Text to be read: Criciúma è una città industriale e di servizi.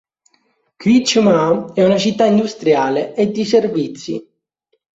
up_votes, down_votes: 0, 2